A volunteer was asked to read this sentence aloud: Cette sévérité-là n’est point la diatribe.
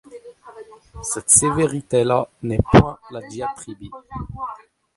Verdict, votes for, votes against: rejected, 1, 2